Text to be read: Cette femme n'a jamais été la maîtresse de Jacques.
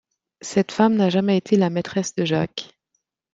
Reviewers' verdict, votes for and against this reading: accepted, 2, 0